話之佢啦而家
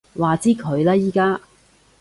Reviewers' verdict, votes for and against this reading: rejected, 1, 2